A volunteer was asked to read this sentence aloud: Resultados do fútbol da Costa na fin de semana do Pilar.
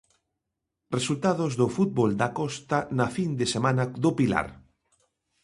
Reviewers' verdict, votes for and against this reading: accepted, 2, 0